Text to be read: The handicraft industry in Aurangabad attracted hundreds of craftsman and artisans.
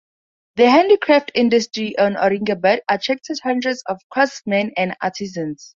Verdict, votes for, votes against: accepted, 2, 0